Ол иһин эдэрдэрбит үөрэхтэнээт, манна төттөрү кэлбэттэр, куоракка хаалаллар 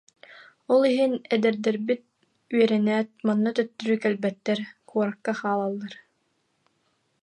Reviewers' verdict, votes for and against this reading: rejected, 2, 2